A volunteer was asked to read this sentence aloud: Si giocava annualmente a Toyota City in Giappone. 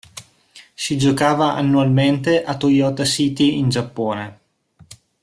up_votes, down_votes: 3, 0